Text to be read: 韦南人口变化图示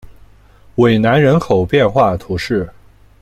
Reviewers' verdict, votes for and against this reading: accepted, 2, 0